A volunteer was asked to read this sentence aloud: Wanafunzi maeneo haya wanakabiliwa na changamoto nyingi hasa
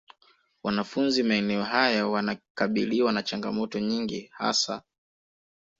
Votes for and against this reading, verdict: 2, 1, accepted